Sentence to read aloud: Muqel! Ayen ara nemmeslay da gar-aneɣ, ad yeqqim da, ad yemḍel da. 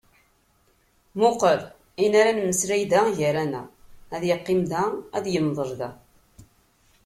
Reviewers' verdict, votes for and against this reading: accepted, 2, 0